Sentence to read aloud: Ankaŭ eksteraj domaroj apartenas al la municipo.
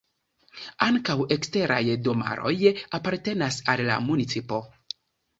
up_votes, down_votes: 2, 0